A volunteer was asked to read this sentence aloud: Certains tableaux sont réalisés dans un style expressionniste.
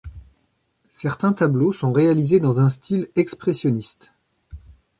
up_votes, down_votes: 2, 0